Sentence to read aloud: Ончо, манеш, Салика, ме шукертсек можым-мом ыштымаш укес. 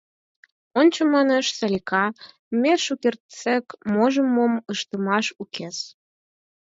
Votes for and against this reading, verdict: 4, 0, accepted